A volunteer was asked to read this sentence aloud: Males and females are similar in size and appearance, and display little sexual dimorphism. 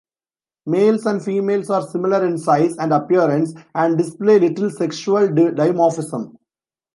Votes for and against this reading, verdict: 0, 2, rejected